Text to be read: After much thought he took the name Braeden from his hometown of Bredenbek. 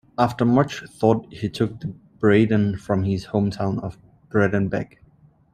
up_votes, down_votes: 1, 2